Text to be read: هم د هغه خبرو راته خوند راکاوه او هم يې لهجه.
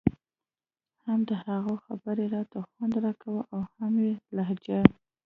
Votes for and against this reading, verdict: 2, 0, accepted